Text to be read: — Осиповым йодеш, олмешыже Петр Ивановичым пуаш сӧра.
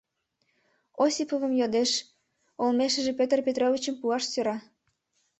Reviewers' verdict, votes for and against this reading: rejected, 1, 2